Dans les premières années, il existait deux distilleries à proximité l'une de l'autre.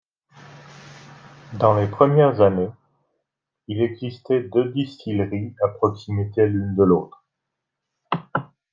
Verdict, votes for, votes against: accepted, 2, 0